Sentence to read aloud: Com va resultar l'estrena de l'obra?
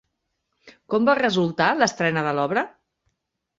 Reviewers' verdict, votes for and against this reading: accepted, 3, 0